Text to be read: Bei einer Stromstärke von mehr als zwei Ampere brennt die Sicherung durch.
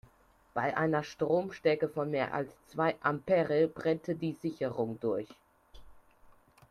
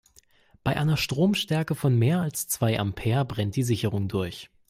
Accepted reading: second